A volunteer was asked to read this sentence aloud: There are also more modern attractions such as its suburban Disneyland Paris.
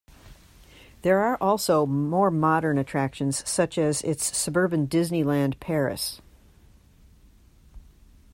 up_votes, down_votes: 2, 0